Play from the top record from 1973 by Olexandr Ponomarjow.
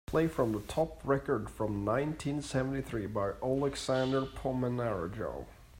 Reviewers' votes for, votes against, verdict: 0, 2, rejected